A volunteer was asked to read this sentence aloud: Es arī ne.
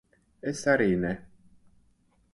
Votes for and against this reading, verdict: 6, 0, accepted